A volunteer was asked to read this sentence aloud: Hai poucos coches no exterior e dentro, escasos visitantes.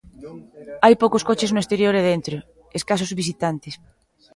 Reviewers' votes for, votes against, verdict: 1, 2, rejected